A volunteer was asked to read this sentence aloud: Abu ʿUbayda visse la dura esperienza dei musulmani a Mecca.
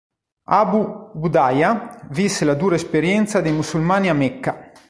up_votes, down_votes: 1, 2